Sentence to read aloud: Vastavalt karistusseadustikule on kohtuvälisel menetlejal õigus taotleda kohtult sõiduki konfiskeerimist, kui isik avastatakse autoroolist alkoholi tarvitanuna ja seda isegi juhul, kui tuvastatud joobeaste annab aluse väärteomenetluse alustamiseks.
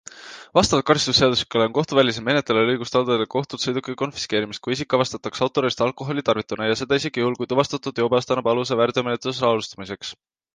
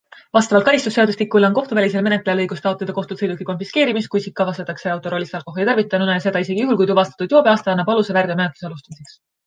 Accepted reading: first